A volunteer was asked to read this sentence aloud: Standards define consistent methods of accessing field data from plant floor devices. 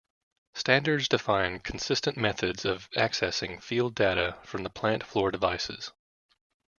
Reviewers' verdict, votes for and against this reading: rejected, 0, 2